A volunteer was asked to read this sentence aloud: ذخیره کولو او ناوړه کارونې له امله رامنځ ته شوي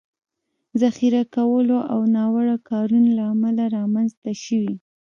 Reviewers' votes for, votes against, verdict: 0, 2, rejected